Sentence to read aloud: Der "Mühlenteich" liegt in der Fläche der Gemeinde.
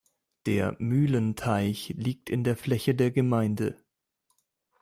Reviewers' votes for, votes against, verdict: 2, 0, accepted